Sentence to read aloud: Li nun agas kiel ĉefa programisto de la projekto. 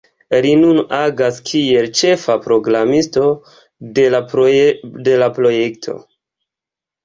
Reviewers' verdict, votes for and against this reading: accepted, 2, 0